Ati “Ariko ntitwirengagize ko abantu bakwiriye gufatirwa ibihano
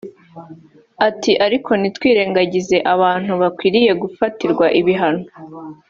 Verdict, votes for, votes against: accepted, 3, 0